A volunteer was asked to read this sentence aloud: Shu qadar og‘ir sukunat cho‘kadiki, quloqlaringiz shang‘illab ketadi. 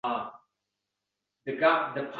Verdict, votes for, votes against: rejected, 0, 2